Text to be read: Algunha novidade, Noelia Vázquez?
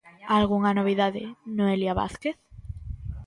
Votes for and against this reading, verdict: 2, 0, accepted